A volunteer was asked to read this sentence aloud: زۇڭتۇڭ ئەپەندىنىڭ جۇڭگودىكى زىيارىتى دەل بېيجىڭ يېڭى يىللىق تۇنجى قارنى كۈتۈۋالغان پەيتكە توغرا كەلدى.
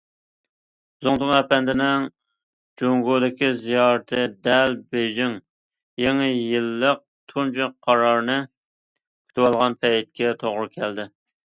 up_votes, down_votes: 0, 2